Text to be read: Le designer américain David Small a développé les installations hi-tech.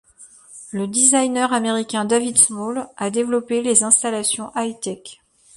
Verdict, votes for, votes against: accepted, 2, 0